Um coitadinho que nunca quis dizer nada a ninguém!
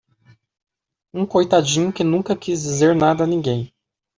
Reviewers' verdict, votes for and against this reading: accepted, 2, 0